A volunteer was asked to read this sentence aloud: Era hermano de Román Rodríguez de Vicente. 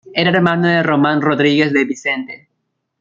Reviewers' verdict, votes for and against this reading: accepted, 2, 0